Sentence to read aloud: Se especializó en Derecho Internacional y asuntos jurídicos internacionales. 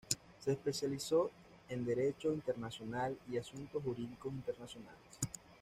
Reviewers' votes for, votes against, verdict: 2, 0, accepted